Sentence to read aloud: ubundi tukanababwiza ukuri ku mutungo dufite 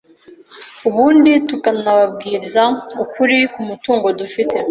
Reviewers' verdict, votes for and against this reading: accepted, 2, 0